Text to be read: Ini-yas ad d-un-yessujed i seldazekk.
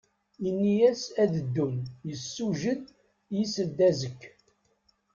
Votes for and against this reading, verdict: 1, 2, rejected